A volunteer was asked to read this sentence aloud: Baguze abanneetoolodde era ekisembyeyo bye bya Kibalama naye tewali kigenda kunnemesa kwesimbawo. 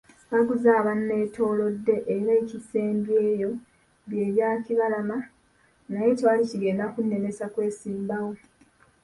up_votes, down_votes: 1, 2